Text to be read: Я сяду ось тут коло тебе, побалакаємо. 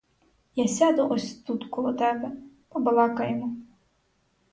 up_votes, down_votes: 0, 4